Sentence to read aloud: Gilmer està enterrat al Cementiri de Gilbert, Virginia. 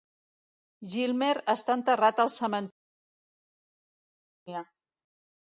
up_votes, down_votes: 0, 2